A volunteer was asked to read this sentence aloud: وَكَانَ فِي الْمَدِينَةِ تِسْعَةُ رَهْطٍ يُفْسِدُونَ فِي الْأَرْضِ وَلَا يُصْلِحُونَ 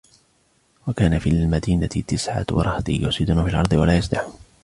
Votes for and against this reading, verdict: 0, 2, rejected